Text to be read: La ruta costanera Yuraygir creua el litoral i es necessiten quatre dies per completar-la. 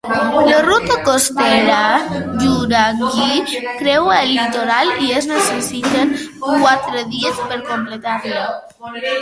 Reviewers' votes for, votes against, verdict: 0, 2, rejected